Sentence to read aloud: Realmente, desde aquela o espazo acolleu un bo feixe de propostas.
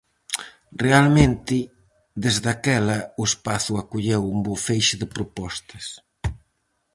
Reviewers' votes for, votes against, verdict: 4, 0, accepted